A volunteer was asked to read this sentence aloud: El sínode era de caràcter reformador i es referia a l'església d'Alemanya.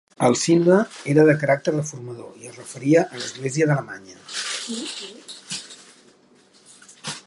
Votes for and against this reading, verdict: 1, 3, rejected